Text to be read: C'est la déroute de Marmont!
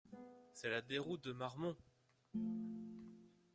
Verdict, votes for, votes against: rejected, 0, 2